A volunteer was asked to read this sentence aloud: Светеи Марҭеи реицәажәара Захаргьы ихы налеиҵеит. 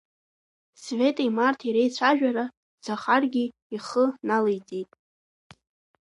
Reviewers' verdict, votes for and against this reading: accepted, 2, 0